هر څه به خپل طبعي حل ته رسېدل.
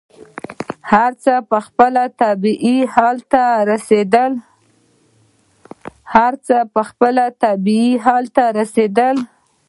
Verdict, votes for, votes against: rejected, 1, 2